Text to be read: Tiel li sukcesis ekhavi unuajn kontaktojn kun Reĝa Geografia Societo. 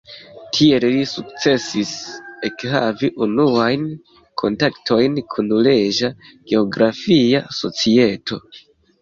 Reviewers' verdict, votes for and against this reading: accepted, 2, 0